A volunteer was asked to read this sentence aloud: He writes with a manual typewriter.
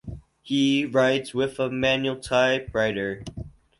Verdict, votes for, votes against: rejected, 0, 2